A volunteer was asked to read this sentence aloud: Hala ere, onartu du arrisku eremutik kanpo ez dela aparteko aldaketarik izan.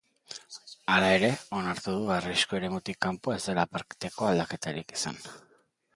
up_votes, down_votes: 1, 2